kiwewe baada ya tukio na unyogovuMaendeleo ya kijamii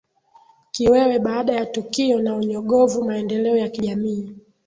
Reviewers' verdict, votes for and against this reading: rejected, 1, 2